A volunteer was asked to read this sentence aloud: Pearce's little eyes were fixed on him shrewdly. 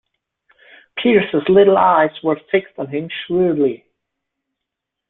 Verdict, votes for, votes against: accepted, 2, 0